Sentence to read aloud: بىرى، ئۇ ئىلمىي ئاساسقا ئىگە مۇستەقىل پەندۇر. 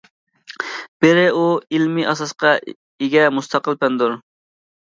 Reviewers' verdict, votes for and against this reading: accepted, 2, 0